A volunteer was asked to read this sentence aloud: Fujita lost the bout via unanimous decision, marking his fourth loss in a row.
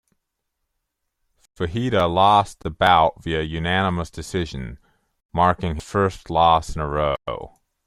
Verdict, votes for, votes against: rejected, 0, 2